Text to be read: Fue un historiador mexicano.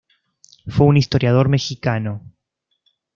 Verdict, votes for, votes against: accepted, 2, 0